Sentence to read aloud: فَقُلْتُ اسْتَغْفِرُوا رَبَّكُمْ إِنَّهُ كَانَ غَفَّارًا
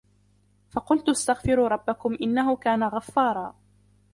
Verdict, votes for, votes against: rejected, 0, 2